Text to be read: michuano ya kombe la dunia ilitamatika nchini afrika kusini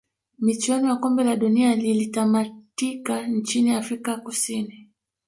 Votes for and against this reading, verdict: 0, 2, rejected